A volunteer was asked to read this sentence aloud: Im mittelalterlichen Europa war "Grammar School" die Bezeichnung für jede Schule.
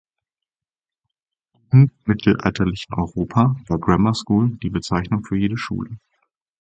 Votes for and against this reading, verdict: 2, 4, rejected